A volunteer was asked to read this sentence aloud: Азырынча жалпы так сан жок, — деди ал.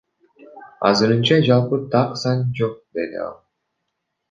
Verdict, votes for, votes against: rejected, 1, 2